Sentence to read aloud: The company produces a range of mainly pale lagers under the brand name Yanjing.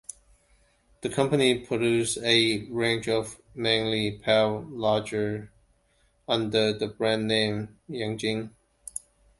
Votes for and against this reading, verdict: 2, 1, accepted